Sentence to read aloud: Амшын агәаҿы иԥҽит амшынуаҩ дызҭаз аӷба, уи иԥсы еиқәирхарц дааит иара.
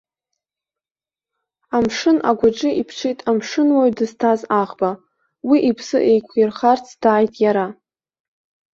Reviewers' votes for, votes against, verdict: 2, 0, accepted